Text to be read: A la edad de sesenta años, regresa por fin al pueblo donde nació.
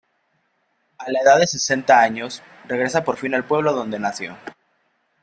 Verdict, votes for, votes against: accepted, 2, 0